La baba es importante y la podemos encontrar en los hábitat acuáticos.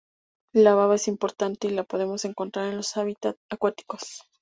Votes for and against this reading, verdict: 2, 0, accepted